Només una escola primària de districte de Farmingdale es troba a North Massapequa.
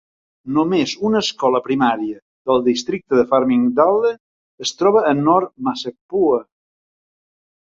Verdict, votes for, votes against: rejected, 1, 2